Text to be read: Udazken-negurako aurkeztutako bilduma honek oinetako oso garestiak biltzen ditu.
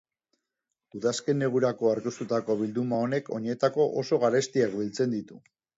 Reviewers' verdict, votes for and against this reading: accepted, 2, 0